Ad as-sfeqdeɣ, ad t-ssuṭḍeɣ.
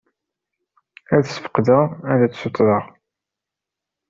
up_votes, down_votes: 1, 2